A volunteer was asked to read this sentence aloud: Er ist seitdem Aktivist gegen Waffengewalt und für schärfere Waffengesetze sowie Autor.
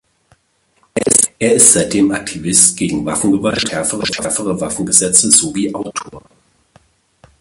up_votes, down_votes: 0, 2